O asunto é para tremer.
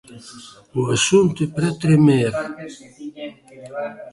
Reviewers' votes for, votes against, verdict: 1, 2, rejected